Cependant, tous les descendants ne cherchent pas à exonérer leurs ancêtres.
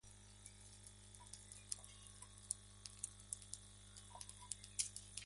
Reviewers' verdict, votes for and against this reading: rejected, 0, 2